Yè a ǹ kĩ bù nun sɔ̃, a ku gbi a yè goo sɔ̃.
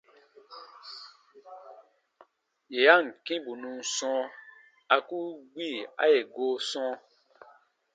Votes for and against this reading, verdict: 2, 0, accepted